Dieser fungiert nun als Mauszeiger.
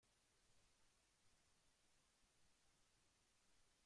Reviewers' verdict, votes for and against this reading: rejected, 0, 2